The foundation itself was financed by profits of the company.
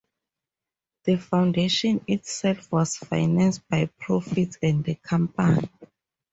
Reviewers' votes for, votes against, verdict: 0, 2, rejected